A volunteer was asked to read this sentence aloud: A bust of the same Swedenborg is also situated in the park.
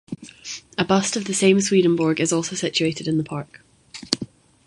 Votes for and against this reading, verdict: 2, 0, accepted